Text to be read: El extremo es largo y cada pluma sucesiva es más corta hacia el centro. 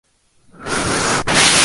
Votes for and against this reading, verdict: 0, 2, rejected